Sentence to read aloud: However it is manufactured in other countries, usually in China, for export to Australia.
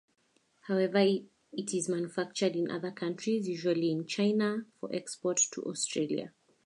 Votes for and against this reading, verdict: 0, 2, rejected